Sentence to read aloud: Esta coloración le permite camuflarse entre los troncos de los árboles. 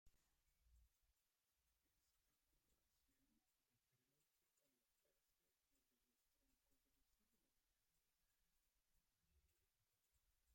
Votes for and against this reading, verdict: 0, 2, rejected